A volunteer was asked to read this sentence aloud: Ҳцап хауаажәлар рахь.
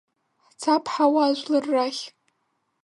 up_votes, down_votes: 1, 2